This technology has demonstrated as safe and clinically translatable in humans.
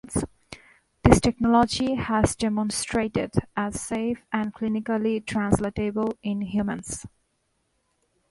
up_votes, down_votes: 2, 0